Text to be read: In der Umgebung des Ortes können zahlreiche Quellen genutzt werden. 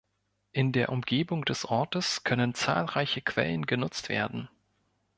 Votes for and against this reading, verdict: 2, 0, accepted